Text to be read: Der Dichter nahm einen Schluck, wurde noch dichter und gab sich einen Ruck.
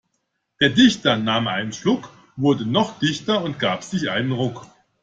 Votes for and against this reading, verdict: 2, 0, accepted